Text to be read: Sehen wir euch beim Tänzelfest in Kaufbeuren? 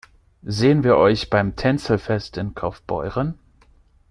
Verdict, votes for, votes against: accepted, 2, 0